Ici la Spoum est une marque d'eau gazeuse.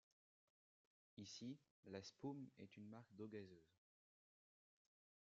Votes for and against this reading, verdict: 1, 2, rejected